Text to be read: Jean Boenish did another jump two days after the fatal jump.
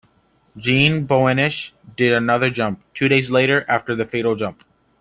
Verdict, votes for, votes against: rejected, 0, 2